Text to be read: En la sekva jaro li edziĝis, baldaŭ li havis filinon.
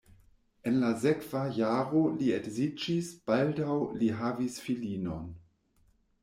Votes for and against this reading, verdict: 0, 2, rejected